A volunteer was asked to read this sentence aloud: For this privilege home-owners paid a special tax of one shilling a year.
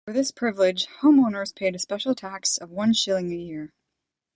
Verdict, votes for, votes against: rejected, 0, 2